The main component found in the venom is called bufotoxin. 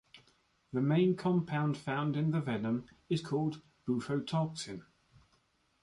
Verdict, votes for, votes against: rejected, 0, 2